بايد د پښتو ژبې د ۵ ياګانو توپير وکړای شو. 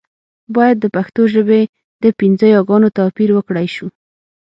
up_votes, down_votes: 0, 2